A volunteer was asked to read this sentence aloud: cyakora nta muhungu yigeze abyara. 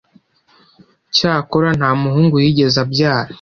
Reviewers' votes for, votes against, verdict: 2, 0, accepted